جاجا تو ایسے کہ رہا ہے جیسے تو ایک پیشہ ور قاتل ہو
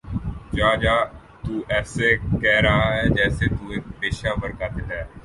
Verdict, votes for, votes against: accepted, 14, 5